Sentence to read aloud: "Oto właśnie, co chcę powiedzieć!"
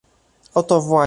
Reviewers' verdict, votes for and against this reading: rejected, 0, 2